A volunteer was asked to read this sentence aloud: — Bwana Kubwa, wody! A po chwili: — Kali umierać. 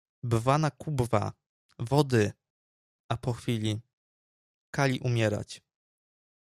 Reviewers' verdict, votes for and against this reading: accepted, 2, 0